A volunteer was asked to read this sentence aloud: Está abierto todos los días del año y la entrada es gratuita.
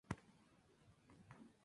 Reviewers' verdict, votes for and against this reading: rejected, 0, 2